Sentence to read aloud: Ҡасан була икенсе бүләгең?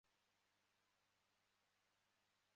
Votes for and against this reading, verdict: 0, 2, rejected